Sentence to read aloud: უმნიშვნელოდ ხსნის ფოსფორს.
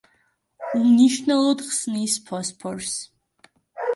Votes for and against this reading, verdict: 2, 1, accepted